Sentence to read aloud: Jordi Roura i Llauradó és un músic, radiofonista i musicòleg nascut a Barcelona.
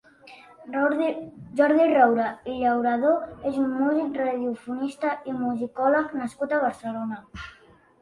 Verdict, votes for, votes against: rejected, 1, 2